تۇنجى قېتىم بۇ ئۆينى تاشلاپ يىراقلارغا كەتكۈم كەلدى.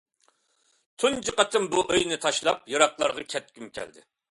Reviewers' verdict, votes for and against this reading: accepted, 2, 0